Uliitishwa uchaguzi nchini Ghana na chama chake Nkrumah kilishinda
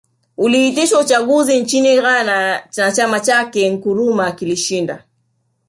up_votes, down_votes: 4, 0